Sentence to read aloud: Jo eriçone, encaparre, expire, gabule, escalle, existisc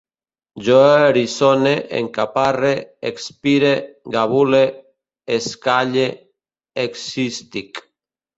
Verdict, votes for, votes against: rejected, 1, 2